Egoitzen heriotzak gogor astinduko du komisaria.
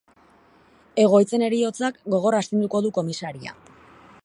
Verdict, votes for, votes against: accepted, 4, 0